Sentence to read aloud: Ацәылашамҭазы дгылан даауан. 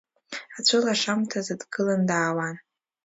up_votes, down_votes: 2, 0